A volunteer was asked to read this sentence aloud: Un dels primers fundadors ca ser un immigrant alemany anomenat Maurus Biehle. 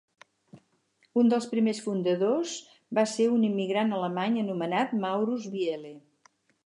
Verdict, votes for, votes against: accepted, 4, 0